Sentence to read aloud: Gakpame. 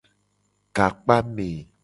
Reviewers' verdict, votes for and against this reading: accepted, 2, 0